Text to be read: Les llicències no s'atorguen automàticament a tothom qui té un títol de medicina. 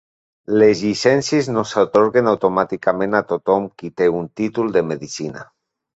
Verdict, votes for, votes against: accepted, 3, 1